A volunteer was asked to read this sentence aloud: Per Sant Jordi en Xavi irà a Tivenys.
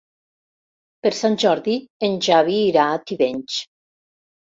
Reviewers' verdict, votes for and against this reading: rejected, 1, 2